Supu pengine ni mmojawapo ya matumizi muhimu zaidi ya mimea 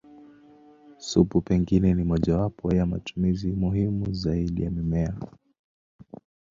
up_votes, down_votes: 1, 2